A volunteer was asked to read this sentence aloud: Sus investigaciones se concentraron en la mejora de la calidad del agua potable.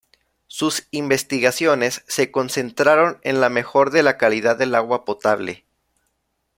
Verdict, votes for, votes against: rejected, 0, 2